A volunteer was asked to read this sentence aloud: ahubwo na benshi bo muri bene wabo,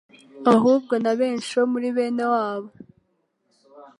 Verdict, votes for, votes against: accepted, 2, 1